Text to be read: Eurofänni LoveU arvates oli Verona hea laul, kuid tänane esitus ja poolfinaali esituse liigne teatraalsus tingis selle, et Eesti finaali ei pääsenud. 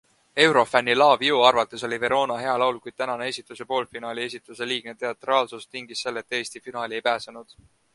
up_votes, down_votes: 2, 0